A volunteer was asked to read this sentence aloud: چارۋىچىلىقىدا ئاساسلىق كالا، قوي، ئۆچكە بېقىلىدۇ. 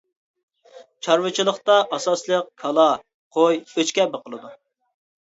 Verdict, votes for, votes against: rejected, 1, 2